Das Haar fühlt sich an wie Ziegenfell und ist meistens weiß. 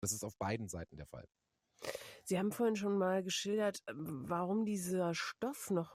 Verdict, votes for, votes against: rejected, 0, 2